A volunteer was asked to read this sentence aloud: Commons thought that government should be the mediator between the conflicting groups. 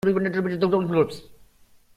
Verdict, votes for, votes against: rejected, 0, 2